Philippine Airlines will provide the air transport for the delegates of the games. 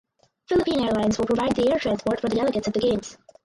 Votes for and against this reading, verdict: 0, 4, rejected